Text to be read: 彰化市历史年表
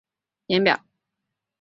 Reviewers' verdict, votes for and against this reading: rejected, 0, 2